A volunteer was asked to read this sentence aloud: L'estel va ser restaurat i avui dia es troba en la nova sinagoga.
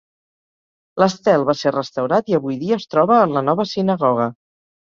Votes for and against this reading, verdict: 2, 0, accepted